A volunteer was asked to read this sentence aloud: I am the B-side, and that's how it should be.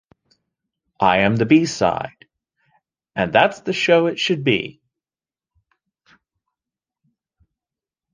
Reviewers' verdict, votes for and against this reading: rejected, 0, 2